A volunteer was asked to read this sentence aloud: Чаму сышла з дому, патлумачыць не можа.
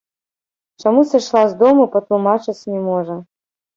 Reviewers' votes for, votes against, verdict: 2, 0, accepted